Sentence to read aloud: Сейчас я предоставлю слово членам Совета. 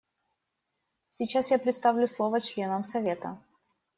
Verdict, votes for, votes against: rejected, 0, 2